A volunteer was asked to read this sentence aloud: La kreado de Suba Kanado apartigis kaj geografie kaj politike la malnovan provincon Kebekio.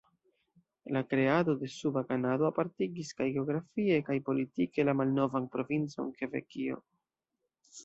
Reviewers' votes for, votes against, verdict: 2, 0, accepted